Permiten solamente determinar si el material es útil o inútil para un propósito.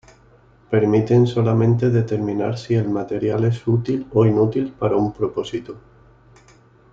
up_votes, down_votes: 2, 0